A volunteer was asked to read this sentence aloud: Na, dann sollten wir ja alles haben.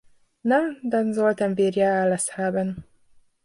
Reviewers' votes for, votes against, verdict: 2, 0, accepted